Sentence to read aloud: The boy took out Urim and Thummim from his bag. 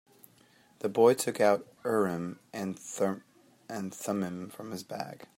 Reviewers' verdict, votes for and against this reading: accepted, 4, 2